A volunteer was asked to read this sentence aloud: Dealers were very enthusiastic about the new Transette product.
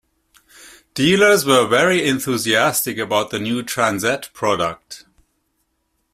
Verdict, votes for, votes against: accepted, 2, 0